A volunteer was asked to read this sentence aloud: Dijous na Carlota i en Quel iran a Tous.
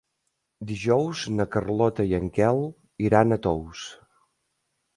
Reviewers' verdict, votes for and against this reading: accepted, 3, 0